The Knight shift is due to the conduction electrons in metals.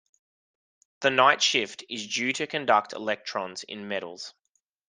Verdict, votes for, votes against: rejected, 0, 2